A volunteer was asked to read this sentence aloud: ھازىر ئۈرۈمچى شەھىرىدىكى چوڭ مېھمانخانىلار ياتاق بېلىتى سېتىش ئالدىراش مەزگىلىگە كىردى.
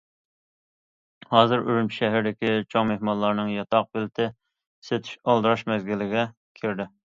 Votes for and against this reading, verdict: 0, 2, rejected